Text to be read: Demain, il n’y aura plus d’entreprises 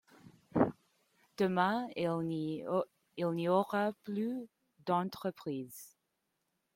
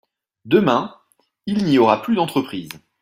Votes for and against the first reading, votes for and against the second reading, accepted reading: 0, 3, 2, 0, second